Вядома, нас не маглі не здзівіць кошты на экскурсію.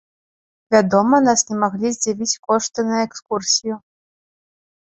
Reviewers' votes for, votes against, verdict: 0, 3, rejected